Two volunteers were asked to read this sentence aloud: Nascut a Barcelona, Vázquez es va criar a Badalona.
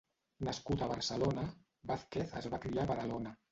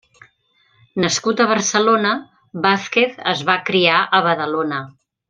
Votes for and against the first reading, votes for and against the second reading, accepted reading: 1, 2, 3, 0, second